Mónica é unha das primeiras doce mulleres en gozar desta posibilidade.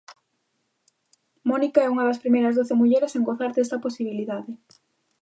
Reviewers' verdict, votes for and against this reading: accepted, 2, 0